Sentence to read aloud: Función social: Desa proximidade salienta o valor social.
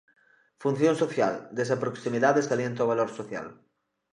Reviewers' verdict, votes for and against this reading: accepted, 2, 0